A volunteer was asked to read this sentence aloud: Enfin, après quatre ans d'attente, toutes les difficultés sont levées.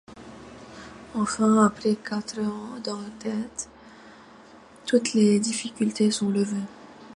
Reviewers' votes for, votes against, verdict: 1, 2, rejected